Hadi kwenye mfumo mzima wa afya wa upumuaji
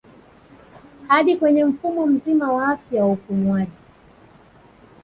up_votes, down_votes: 1, 2